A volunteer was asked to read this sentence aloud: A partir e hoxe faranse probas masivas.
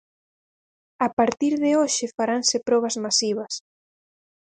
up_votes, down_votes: 0, 2